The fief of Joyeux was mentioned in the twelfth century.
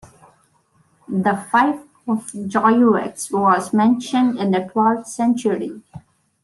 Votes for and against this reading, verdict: 2, 1, accepted